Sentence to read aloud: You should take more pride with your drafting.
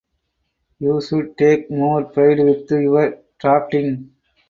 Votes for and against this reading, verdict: 0, 4, rejected